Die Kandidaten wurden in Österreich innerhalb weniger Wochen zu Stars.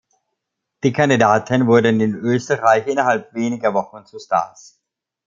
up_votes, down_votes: 2, 0